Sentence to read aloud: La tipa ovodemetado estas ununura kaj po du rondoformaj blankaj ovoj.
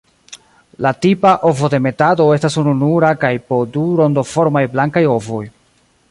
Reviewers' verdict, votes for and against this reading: rejected, 1, 2